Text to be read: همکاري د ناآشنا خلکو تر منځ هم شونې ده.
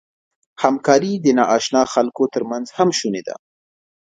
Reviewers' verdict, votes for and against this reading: accepted, 2, 0